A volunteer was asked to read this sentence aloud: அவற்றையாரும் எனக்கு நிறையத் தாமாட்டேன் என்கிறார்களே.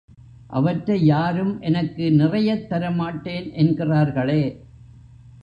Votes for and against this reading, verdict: 2, 1, accepted